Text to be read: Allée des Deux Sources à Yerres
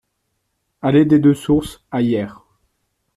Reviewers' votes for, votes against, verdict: 2, 0, accepted